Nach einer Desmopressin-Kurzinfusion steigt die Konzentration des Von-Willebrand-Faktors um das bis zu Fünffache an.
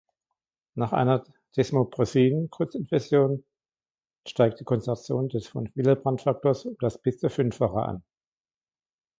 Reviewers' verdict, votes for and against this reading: accepted, 2, 1